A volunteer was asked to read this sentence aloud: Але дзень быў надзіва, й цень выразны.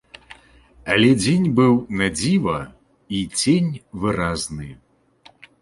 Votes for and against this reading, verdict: 2, 0, accepted